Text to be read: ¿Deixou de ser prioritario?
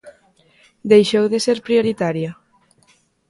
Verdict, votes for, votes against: accepted, 2, 0